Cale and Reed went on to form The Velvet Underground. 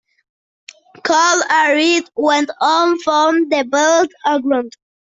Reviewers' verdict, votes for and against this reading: rejected, 0, 2